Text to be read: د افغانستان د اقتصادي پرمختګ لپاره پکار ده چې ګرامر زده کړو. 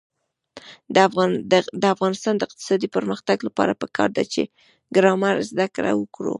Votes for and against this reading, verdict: 1, 2, rejected